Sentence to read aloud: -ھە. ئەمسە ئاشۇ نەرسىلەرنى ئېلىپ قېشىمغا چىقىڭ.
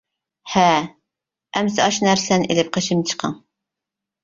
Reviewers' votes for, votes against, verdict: 1, 2, rejected